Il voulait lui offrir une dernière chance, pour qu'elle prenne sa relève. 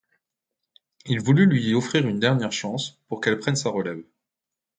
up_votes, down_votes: 0, 2